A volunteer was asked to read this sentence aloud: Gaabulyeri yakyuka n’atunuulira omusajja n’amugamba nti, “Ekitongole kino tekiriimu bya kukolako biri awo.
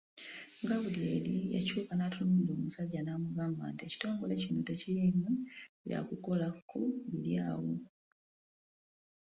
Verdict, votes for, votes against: accepted, 2, 0